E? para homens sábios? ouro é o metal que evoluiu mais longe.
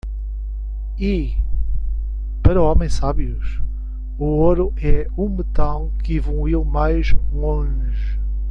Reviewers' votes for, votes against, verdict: 1, 2, rejected